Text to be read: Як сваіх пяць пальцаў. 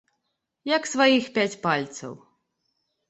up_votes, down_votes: 2, 0